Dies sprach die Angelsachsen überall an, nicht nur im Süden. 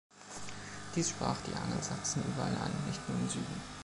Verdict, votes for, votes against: rejected, 3, 3